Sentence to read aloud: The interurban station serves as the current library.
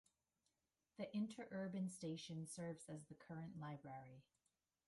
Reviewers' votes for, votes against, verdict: 2, 0, accepted